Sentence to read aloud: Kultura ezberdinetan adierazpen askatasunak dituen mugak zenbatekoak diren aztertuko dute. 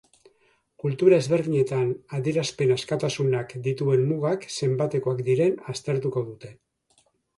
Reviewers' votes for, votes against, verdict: 4, 0, accepted